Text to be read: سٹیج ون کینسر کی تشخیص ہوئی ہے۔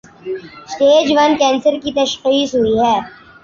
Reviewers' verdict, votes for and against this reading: accepted, 2, 0